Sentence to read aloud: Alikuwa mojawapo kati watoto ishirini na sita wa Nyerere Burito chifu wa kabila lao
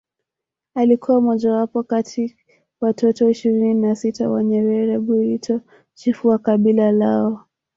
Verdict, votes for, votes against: accepted, 3, 0